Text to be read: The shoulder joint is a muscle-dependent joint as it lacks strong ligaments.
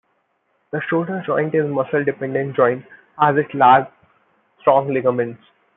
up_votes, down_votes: 1, 2